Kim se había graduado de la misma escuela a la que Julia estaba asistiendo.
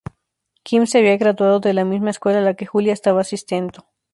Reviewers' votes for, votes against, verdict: 0, 2, rejected